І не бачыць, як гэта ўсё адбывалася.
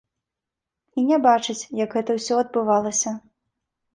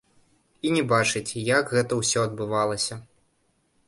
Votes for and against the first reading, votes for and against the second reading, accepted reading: 2, 0, 0, 2, first